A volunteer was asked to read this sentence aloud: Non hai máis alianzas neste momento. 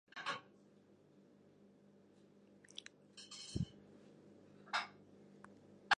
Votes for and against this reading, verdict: 0, 2, rejected